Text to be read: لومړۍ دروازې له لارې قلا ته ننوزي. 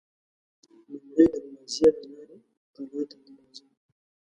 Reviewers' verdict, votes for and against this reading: rejected, 0, 2